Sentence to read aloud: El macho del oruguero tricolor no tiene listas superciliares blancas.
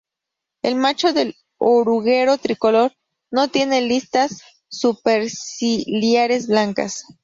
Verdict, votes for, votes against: accepted, 2, 0